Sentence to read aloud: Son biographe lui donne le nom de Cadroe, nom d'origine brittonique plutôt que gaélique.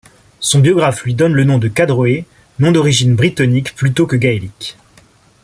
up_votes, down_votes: 2, 0